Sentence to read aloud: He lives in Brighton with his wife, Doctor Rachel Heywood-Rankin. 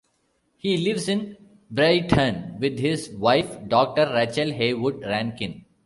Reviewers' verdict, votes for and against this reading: rejected, 1, 2